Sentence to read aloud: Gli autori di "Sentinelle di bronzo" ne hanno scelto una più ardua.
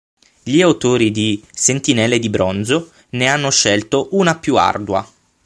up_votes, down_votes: 12, 0